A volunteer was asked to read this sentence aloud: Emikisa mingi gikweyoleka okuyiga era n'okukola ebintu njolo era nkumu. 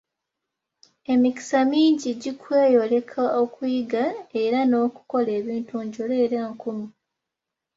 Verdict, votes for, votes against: accepted, 2, 0